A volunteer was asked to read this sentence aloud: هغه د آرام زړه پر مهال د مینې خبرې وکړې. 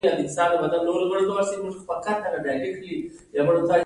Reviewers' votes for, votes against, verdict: 1, 2, rejected